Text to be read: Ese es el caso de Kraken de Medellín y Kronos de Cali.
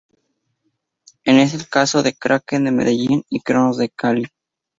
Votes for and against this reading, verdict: 0, 2, rejected